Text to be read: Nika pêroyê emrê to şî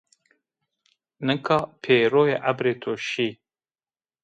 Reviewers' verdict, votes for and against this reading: rejected, 0, 2